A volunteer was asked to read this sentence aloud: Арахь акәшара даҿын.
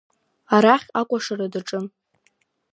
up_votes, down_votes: 1, 2